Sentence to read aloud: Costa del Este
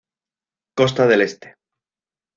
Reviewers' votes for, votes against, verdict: 2, 0, accepted